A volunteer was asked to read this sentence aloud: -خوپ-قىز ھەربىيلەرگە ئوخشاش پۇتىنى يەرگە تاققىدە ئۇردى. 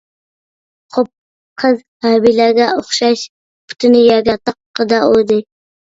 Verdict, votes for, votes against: rejected, 1, 2